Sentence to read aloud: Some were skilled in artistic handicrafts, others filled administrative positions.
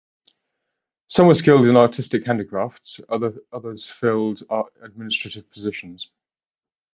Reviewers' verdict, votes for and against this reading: rejected, 1, 2